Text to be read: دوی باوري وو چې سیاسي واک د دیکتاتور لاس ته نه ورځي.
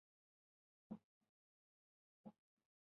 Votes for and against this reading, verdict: 0, 2, rejected